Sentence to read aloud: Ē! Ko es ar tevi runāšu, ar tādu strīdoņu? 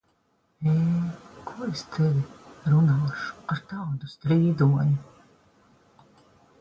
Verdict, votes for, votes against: rejected, 1, 3